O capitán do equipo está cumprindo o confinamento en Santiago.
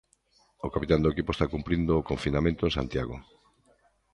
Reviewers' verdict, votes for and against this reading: accepted, 2, 0